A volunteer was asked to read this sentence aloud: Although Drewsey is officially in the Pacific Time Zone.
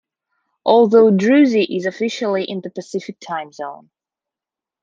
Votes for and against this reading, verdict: 1, 2, rejected